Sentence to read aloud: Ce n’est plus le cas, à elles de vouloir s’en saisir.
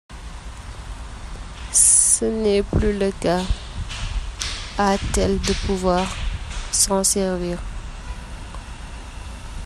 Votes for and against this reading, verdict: 0, 2, rejected